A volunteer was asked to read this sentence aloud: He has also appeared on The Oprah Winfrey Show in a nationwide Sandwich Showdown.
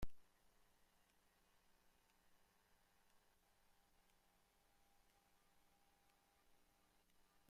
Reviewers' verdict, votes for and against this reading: rejected, 0, 2